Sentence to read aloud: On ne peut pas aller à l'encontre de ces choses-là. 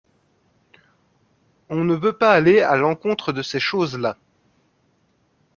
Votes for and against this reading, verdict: 0, 2, rejected